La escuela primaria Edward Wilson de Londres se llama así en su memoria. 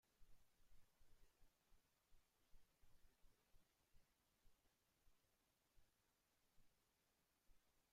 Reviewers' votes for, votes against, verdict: 0, 2, rejected